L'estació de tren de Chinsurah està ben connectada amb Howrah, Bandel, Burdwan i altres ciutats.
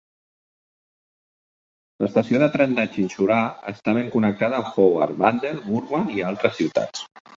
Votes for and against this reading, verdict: 2, 0, accepted